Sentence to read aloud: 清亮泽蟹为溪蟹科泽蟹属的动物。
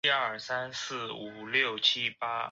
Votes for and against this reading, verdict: 0, 3, rejected